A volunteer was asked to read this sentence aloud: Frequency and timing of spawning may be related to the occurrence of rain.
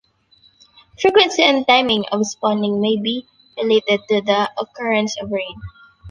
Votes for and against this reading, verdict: 2, 0, accepted